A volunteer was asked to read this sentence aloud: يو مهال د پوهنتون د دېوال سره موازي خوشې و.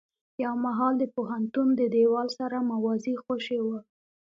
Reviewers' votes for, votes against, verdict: 1, 2, rejected